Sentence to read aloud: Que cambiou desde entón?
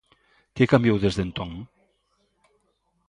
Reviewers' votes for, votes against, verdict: 2, 0, accepted